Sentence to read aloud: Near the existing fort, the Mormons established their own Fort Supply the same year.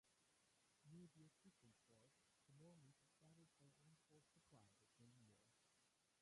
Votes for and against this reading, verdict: 0, 2, rejected